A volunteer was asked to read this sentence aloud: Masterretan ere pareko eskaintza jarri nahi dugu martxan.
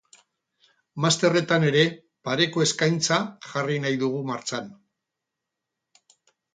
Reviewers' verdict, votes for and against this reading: rejected, 2, 2